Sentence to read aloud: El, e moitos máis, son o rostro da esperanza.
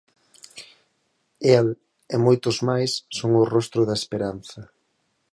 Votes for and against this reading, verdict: 4, 0, accepted